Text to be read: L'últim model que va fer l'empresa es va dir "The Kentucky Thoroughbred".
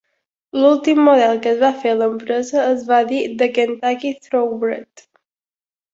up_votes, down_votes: 1, 2